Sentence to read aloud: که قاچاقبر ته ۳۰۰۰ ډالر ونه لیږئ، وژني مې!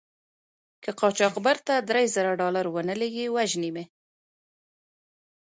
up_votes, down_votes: 0, 2